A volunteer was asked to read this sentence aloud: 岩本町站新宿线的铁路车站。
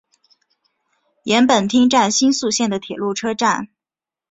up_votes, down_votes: 2, 0